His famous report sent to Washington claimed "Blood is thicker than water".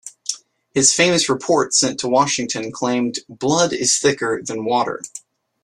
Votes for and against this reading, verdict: 3, 0, accepted